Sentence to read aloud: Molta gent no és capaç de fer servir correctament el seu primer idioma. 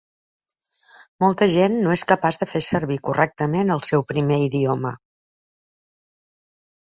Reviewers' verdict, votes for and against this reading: accepted, 2, 0